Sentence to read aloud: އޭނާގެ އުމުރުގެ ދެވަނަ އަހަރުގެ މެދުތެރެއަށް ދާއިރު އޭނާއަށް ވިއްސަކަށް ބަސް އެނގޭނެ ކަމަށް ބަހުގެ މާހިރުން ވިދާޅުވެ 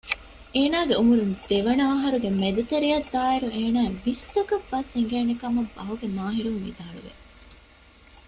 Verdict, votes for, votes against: rejected, 1, 2